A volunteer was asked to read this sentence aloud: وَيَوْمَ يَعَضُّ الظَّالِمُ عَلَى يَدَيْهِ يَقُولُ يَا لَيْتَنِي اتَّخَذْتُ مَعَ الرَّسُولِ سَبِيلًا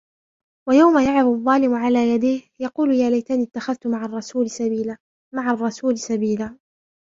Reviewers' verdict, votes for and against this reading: rejected, 1, 2